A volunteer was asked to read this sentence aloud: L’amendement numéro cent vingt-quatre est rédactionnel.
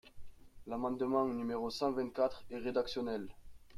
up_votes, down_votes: 2, 0